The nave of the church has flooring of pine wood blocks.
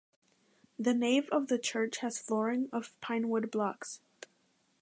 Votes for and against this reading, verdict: 2, 0, accepted